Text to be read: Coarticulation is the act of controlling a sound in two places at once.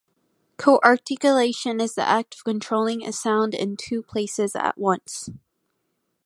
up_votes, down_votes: 2, 0